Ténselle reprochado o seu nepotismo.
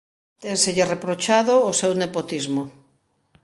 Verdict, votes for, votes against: accepted, 2, 0